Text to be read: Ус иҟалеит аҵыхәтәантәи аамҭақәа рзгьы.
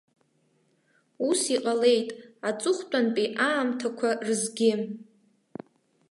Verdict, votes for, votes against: accepted, 3, 1